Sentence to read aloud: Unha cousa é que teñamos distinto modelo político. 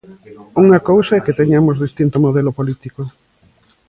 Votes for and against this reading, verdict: 2, 0, accepted